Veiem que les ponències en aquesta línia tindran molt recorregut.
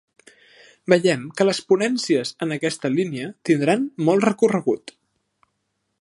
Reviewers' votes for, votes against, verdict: 4, 0, accepted